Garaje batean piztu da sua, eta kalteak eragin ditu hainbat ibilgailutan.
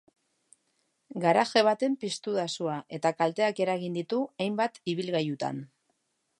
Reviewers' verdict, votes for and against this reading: rejected, 1, 2